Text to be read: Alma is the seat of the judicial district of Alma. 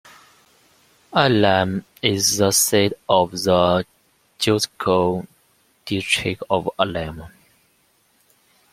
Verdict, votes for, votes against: rejected, 1, 2